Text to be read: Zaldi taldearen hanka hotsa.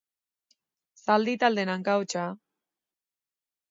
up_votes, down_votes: 2, 0